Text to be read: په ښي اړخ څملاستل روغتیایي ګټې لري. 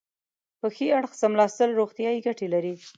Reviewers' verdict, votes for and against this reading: accepted, 2, 0